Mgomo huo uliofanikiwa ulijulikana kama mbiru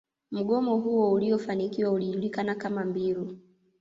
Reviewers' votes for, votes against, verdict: 1, 2, rejected